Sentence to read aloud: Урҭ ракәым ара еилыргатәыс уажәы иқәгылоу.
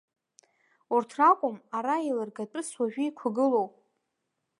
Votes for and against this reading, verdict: 5, 1, accepted